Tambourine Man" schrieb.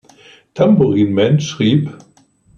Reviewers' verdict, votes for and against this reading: accepted, 2, 0